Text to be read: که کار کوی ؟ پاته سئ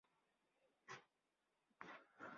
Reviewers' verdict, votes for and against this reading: rejected, 1, 2